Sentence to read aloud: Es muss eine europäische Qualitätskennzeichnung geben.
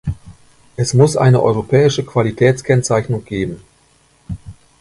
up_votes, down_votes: 2, 0